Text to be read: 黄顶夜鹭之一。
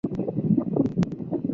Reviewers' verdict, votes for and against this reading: rejected, 1, 3